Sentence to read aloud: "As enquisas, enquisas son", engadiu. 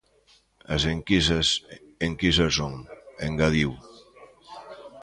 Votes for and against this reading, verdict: 1, 2, rejected